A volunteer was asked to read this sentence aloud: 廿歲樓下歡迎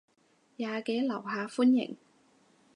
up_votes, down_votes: 0, 4